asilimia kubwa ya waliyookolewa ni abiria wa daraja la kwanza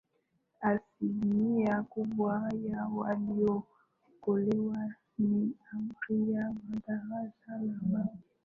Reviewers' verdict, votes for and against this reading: accepted, 2, 0